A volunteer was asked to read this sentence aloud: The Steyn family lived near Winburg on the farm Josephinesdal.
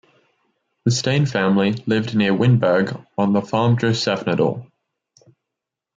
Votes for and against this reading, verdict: 2, 3, rejected